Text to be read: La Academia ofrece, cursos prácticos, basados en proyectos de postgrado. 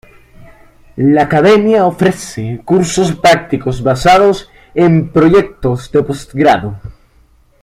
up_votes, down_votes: 2, 0